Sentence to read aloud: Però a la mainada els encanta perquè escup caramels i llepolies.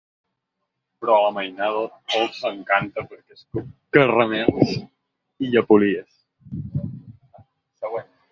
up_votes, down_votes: 1, 2